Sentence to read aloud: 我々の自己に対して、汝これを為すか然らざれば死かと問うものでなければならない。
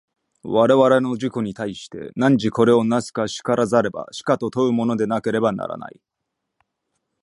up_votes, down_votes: 2, 0